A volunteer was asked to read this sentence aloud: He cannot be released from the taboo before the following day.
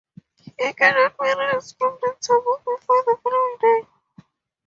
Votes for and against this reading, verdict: 0, 4, rejected